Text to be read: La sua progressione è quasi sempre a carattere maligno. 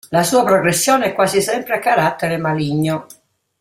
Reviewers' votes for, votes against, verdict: 2, 0, accepted